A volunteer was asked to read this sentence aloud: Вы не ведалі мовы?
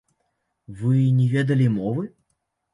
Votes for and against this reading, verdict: 0, 2, rejected